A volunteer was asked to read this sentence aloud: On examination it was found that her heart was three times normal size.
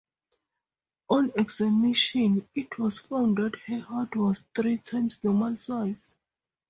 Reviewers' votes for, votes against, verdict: 2, 0, accepted